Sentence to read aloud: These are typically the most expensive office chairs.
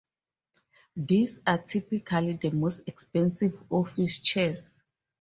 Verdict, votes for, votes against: rejected, 2, 2